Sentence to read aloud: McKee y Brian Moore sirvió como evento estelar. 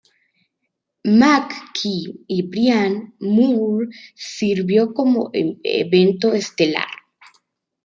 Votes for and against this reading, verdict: 1, 2, rejected